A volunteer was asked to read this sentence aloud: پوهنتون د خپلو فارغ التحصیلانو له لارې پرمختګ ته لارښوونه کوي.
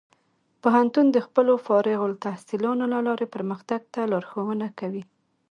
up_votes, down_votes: 3, 1